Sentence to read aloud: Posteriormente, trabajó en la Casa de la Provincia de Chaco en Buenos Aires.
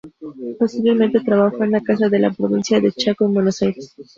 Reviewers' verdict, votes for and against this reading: accepted, 2, 0